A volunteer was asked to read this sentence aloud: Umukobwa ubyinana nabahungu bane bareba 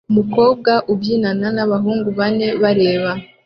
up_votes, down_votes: 2, 0